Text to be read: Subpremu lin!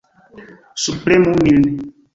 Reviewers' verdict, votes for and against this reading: rejected, 1, 2